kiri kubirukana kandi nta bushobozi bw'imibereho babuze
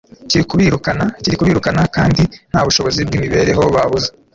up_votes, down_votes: 1, 2